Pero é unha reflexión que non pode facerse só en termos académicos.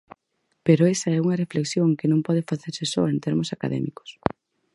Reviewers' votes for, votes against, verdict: 0, 4, rejected